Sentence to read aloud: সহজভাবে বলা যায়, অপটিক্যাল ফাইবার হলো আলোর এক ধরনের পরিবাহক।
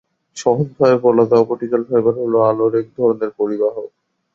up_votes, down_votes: 2, 2